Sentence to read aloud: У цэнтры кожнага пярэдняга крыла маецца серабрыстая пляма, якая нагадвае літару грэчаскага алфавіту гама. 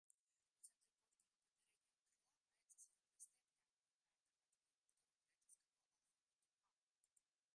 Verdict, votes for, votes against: rejected, 0, 2